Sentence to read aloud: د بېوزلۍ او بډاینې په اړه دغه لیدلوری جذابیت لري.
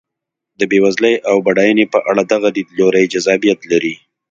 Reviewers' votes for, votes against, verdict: 2, 0, accepted